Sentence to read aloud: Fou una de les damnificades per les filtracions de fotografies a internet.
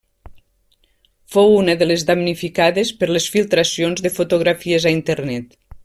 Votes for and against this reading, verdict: 3, 0, accepted